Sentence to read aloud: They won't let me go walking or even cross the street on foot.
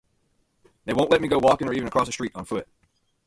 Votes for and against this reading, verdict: 0, 2, rejected